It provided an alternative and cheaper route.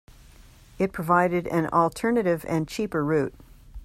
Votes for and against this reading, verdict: 2, 0, accepted